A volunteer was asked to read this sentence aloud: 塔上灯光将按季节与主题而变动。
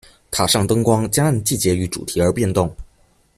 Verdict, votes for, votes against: accepted, 2, 0